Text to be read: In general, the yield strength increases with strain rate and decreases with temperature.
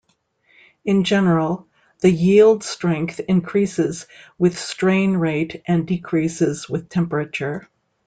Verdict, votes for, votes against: accepted, 2, 0